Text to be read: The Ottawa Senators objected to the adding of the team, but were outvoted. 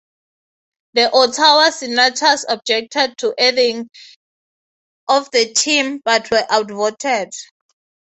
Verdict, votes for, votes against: accepted, 3, 0